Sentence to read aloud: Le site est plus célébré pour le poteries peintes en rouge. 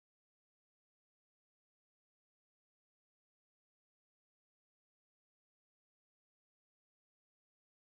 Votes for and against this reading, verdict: 0, 2, rejected